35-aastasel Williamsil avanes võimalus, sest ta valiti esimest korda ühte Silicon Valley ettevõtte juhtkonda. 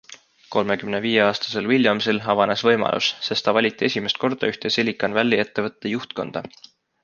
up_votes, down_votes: 0, 2